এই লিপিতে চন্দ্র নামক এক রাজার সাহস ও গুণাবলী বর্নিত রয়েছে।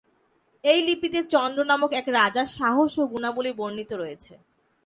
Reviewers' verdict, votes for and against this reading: accepted, 2, 0